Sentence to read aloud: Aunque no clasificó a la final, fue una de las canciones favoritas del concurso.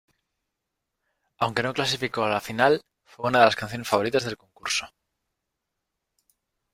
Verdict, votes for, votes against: accepted, 2, 1